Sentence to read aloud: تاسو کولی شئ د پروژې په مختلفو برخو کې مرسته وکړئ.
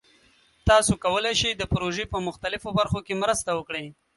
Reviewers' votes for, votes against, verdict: 2, 0, accepted